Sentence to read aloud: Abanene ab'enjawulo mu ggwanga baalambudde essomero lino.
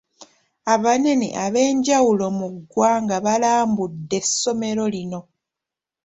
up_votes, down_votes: 2, 0